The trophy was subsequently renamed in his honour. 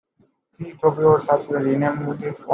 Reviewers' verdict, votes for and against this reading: rejected, 1, 2